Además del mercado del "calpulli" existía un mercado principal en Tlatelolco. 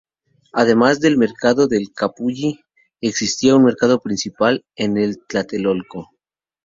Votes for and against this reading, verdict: 2, 0, accepted